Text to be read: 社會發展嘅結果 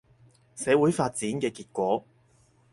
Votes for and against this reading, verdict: 4, 0, accepted